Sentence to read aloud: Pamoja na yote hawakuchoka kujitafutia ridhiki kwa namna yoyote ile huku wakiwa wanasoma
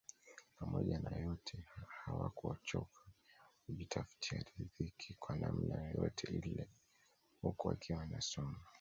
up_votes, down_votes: 2, 0